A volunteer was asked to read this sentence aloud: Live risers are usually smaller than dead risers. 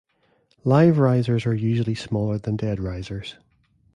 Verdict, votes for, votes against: accepted, 2, 0